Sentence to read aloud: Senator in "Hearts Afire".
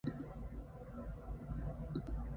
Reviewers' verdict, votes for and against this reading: rejected, 0, 2